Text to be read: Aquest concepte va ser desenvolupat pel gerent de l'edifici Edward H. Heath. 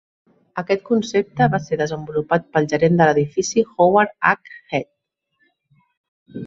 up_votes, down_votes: 0, 2